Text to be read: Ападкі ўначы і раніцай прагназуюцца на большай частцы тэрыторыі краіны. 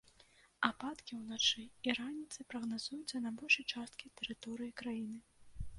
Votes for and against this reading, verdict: 0, 2, rejected